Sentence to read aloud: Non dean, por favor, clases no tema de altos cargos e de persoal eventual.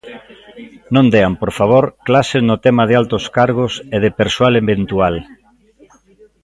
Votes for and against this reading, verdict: 0, 2, rejected